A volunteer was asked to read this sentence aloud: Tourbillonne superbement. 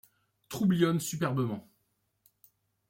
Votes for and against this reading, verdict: 0, 2, rejected